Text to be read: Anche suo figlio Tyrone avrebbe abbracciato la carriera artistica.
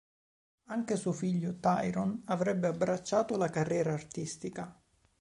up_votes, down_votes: 2, 0